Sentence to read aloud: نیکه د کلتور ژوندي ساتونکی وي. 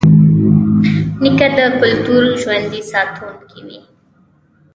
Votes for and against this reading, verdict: 1, 2, rejected